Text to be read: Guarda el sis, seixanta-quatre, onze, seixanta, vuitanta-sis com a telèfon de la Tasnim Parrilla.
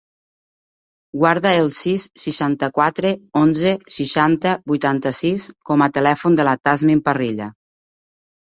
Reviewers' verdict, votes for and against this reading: accepted, 3, 0